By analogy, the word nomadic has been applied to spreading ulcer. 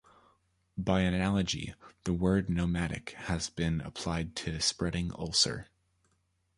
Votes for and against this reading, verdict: 2, 1, accepted